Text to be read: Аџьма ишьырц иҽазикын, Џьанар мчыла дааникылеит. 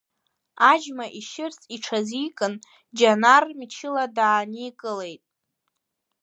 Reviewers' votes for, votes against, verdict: 2, 1, accepted